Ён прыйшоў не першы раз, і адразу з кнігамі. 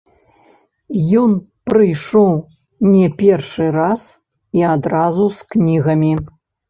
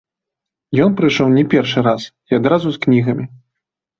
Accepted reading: second